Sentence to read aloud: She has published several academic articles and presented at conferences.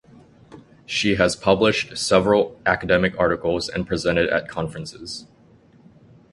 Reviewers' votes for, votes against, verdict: 2, 0, accepted